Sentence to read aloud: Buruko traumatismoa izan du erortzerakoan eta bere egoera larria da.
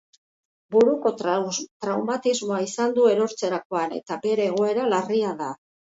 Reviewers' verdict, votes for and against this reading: rejected, 0, 3